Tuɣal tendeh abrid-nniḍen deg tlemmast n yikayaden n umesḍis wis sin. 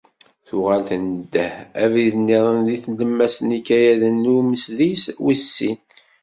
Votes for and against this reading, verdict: 1, 2, rejected